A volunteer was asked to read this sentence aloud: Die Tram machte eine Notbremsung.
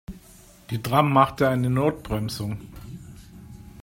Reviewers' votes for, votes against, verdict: 2, 0, accepted